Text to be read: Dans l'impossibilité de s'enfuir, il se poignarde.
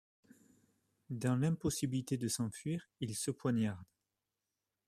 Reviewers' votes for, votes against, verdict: 2, 1, accepted